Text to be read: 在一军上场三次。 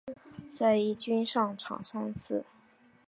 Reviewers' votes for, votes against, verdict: 2, 1, accepted